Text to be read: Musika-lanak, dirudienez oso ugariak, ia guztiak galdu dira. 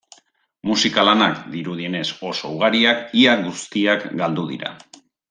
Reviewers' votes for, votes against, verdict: 2, 0, accepted